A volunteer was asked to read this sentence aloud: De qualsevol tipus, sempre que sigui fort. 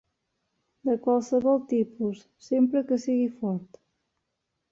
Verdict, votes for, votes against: accepted, 3, 0